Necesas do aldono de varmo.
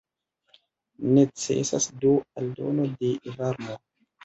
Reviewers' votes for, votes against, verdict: 2, 0, accepted